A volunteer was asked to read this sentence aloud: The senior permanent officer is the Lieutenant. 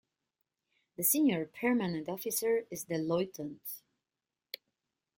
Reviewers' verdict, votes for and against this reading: rejected, 0, 2